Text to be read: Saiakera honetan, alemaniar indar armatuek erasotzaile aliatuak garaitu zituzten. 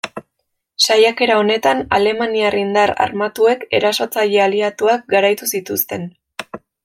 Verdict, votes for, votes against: accepted, 2, 1